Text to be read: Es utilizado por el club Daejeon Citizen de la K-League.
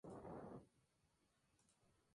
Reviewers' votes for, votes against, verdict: 0, 2, rejected